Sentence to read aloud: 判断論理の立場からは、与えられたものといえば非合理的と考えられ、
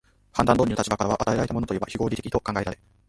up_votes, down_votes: 0, 2